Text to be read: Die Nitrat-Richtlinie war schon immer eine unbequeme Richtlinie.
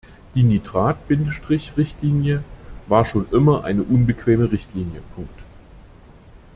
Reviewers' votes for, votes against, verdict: 0, 2, rejected